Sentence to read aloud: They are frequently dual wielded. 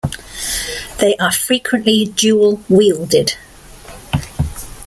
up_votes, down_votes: 2, 0